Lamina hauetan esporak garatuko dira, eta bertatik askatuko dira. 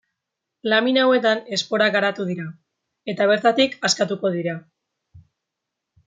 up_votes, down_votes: 0, 2